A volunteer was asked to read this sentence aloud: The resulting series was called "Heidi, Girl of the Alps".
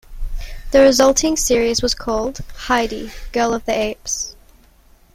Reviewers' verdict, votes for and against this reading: rejected, 0, 2